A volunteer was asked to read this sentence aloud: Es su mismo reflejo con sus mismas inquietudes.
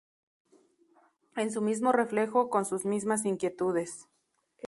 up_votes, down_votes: 0, 2